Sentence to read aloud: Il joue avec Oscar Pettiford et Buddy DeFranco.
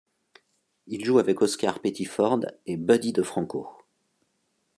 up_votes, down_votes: 3, 0